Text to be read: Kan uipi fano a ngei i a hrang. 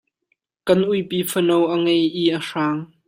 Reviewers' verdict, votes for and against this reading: accepted, 2, 0